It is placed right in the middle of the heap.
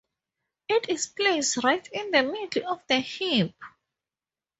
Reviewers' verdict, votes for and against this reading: accepted, 2, 0